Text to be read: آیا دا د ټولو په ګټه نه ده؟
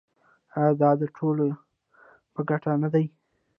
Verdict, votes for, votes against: rejected, 1, 2